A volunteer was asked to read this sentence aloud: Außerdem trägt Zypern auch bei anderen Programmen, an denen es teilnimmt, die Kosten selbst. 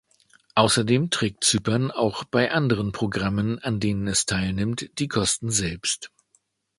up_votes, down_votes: 2, 0